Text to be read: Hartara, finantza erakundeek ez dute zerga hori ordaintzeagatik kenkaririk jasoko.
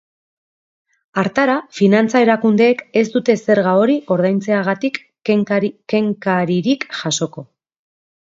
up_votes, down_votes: 0, 2